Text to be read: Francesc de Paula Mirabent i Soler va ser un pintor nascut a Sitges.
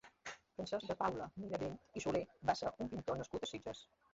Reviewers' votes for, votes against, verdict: 0, 2, rejected